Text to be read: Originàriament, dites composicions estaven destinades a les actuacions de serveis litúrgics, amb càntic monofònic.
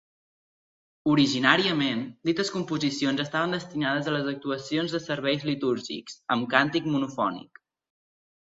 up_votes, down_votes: 3, 0